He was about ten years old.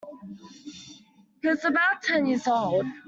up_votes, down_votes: 1, 2